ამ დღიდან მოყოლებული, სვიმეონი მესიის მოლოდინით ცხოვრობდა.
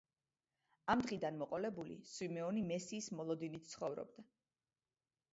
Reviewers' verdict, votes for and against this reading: rejected, 0, 2